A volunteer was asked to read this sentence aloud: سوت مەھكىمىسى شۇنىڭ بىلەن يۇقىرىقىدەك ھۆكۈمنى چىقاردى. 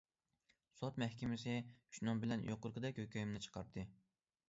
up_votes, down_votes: 2, 0